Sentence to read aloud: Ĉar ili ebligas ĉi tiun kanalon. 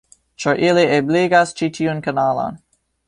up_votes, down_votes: 0, 2